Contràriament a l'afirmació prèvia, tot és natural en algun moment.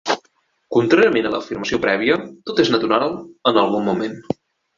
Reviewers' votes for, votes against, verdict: 2, 0, accepted